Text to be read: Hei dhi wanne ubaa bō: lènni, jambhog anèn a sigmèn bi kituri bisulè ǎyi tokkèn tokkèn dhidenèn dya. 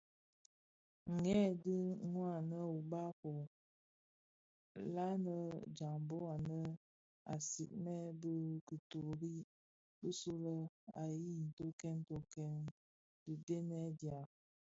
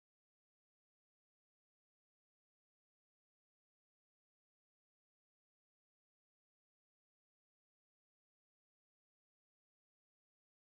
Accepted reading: first